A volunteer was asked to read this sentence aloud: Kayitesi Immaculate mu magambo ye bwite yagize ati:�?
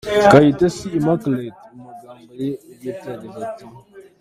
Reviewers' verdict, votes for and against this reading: accepted, 2, 0